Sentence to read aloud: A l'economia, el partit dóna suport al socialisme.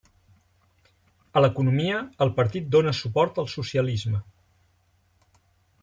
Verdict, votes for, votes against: accepted, 3, 0